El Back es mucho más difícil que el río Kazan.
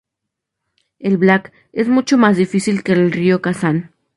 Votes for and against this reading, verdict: 2, 0, accepted